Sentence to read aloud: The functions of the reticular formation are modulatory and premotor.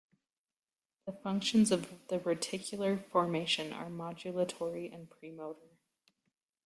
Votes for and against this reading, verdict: 2, 0, accepted